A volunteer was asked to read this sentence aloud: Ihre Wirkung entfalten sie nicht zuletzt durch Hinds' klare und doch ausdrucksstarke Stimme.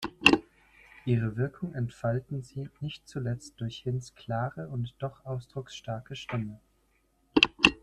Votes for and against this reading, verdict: 2, 0, accepted